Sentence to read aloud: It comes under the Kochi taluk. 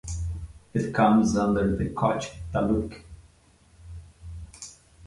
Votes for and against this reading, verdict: 2, 0, accepted